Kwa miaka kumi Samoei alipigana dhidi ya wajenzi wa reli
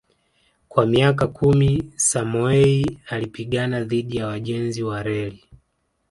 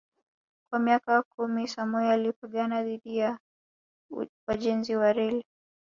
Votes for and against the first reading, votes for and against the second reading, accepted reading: 2, 0, 0, 2, first